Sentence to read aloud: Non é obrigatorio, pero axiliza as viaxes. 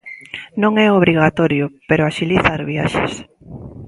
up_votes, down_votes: 2, 0